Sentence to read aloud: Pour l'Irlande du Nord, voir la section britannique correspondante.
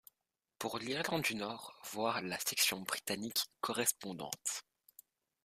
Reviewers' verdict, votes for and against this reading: accepted, 2, 0